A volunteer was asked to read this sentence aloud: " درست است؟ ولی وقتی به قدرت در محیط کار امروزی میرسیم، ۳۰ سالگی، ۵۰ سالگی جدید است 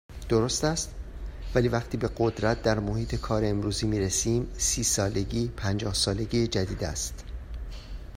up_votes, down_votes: 0, 2